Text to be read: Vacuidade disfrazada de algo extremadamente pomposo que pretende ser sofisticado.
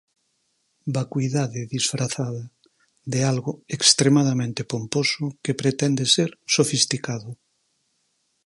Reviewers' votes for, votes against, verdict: 4, 0, accepted